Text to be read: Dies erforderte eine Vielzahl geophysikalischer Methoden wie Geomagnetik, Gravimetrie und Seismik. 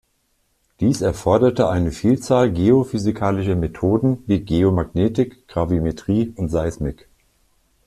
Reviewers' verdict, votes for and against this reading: accepted, 2, 0